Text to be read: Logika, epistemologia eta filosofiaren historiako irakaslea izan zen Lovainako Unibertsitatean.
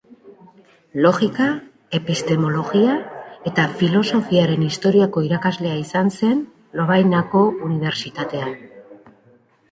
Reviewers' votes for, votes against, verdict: 0, 2, rejected